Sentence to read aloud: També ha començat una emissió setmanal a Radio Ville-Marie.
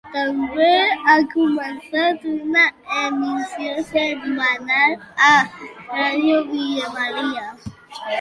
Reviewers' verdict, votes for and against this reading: rejected, 1, 2